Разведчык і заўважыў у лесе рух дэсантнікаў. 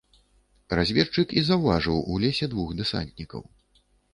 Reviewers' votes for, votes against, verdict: 0, 2, rejected